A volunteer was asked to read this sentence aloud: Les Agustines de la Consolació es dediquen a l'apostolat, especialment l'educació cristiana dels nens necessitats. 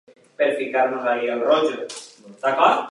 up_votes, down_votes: 1, 2